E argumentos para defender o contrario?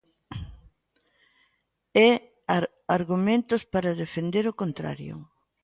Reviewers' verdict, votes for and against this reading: rejected, 0, 3